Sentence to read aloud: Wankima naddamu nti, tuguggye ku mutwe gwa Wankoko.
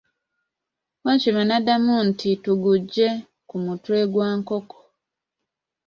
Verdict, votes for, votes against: rejected, 1, 2